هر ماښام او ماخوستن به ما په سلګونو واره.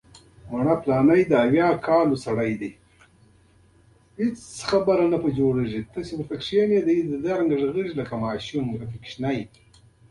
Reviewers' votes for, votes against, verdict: 0, 2, rejected